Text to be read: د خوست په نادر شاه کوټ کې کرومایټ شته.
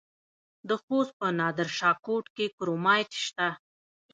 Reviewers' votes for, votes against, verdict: 1, 2, rejected